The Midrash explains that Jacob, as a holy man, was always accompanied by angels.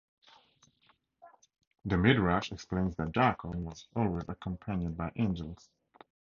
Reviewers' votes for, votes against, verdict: 0, 4, rejected